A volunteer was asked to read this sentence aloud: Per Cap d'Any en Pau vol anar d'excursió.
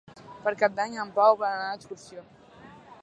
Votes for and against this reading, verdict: 1, 2, rejected